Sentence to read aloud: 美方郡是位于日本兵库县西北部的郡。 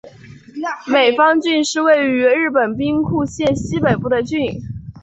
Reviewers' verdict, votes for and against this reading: accepted, 2, 0